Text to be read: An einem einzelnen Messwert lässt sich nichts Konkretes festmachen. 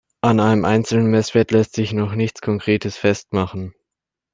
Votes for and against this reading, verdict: 1, 2, rejected